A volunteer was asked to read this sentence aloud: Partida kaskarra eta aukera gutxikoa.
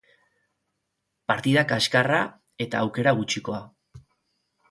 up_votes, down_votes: 4, 0